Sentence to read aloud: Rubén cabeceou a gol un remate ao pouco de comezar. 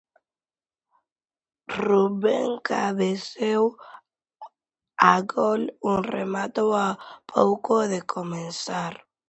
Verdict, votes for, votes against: rejected, 0, 2